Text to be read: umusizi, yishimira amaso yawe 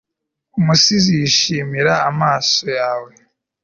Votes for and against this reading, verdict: 2, 0, accepted